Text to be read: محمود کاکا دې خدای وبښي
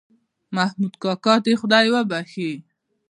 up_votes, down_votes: 2, 1